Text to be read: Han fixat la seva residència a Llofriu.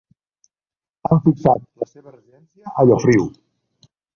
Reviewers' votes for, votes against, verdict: 0, 2, rejected